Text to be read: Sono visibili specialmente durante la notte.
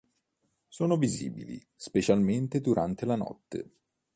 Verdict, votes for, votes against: accepted, 2, 0